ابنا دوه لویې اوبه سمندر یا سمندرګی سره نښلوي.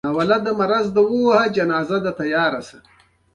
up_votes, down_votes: 0, 2